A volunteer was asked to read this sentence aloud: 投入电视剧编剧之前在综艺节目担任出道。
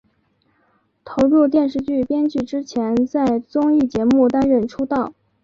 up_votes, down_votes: 2, 1